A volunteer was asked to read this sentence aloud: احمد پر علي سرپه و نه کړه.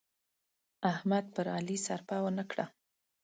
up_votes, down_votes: 3, 0